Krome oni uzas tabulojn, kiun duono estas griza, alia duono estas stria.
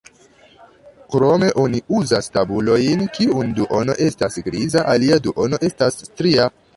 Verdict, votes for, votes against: rejected, 0, 2